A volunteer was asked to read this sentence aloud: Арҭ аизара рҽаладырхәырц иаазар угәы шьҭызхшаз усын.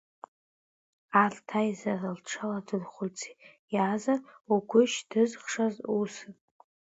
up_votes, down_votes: 0, 2